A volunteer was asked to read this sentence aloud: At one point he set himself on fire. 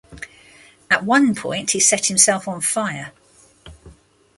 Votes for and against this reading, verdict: 2, 0, accepted